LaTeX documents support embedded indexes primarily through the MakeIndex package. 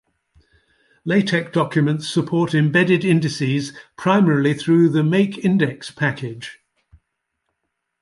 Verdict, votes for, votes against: rejected, 1, 2